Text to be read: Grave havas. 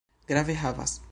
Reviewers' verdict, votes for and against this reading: accepted, 2, 0